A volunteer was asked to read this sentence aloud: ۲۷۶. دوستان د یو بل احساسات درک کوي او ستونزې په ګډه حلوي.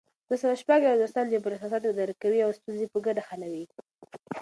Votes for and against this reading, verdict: 0, 2, rejected